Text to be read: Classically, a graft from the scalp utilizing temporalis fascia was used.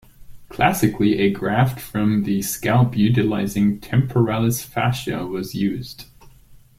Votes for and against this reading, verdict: 2, 0, accepted